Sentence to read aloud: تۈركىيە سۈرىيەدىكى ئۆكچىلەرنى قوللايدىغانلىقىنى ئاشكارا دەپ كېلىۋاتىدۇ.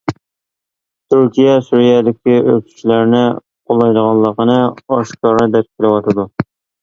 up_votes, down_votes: 1, 2